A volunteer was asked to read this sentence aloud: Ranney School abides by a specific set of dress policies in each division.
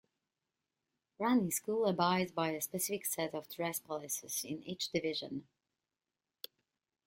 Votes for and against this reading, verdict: 2, 0, accepted